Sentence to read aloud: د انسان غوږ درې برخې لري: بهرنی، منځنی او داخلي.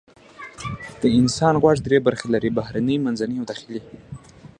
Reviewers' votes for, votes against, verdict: 2, 0, accepted